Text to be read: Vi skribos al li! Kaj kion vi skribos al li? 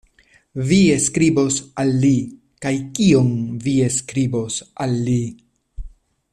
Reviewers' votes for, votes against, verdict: 0, 2, rejected